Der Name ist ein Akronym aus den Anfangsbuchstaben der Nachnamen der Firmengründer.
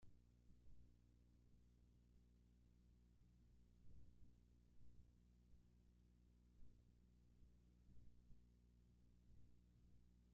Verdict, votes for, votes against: rejected, 0, 2